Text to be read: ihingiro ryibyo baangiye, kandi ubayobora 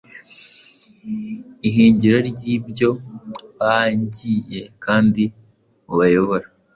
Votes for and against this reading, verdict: 2, 0, accepted